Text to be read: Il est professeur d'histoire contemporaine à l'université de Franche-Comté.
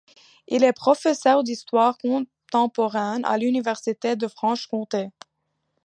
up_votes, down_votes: 2, 0